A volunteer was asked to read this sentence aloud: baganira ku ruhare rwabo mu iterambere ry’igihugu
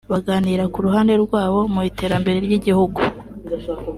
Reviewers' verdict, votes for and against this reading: accepted, 3, 0